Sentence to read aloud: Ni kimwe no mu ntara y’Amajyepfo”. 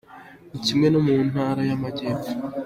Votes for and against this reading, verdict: 2, 0, accepted